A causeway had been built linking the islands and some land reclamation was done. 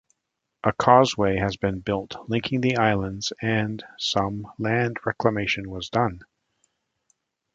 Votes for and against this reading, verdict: 1, 2, rejected